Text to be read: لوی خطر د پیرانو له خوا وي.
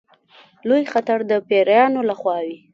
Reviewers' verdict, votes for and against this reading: accepted, 2, 1